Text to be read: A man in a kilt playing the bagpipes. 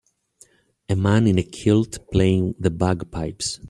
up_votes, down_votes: 2, 0